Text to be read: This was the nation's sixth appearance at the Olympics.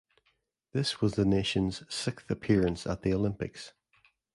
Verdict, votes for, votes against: accepted, 2, 0